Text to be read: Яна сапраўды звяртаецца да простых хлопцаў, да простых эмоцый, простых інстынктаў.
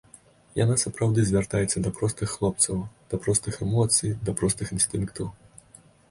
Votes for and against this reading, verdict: 1, 2, rejected